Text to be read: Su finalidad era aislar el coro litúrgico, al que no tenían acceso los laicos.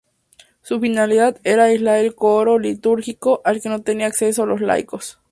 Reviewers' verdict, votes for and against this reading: rejected, 0, 2